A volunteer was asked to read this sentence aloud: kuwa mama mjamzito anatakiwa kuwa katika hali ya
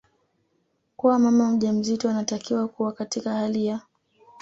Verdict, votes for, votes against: accepted, 2, 0